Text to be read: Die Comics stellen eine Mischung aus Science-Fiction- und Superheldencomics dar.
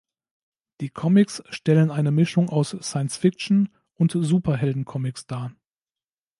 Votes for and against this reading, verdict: 1, 2, rejected